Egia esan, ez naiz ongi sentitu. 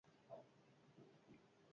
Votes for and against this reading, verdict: 0, 6, rejected